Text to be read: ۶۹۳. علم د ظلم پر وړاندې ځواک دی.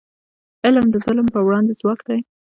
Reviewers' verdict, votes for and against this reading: rejected, 0, 2